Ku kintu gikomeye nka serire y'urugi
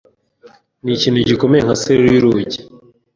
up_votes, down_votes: 1, 2